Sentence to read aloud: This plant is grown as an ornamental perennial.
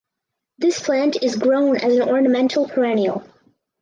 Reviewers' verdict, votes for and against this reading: accepted, 4, 0